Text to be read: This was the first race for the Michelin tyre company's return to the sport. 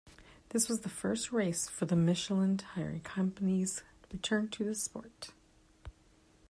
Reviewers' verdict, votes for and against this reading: accepted, 2, 0